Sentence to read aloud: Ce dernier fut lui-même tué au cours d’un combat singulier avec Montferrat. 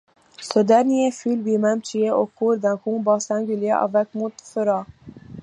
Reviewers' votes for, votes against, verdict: 2, 0, accepted